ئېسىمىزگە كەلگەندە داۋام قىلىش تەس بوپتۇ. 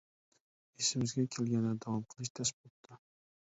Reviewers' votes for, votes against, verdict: 1, 2, rejected